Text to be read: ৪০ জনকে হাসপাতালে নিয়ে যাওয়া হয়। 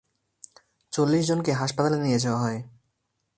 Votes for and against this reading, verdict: 0, 2, rejected